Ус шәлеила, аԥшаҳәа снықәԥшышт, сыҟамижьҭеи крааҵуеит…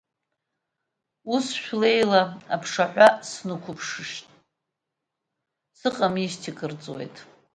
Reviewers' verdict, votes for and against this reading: rejected, 1, 2